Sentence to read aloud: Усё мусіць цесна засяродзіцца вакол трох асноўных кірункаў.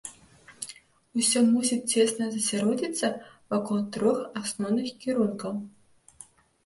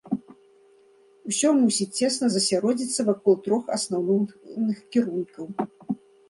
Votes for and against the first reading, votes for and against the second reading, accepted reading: 2, 0, 0, 2, first